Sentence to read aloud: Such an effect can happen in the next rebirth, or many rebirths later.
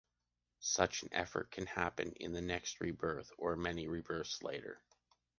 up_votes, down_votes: 1, 2